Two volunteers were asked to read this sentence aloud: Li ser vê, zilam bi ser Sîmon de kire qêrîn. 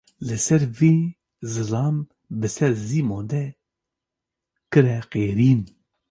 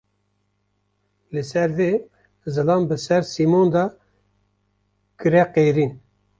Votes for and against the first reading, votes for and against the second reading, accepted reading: 2, 0, 1, 2, first